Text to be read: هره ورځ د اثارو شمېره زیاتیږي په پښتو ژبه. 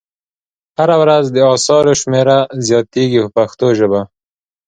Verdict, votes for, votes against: accepted, 2, 0